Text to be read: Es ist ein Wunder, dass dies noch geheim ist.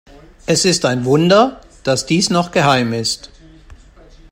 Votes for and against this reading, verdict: 2, 0, accepted